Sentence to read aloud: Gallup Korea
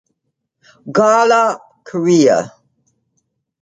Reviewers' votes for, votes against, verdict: 2, 0, accepted